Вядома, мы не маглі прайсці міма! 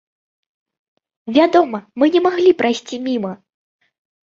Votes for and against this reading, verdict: 2, 0, accepted